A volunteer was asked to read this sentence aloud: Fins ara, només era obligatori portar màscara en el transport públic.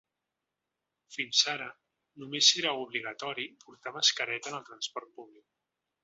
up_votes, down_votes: 1, 2